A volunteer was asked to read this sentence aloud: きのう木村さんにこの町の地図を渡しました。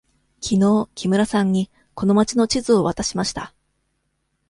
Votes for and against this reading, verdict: 2, 0, accepted